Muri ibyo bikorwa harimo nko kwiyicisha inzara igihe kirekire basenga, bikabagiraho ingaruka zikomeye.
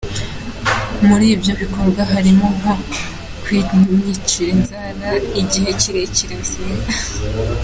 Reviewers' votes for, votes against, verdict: 0, 2, rejected